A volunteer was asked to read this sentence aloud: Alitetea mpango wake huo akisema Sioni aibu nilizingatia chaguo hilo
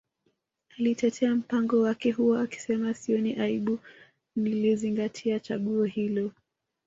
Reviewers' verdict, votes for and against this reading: rejected, 0, 2